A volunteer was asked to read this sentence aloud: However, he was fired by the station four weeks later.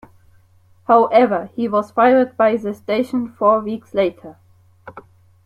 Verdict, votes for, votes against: accepted, 2, 0